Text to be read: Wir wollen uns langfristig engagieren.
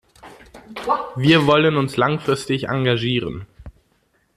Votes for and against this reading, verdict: 2, 0, accepted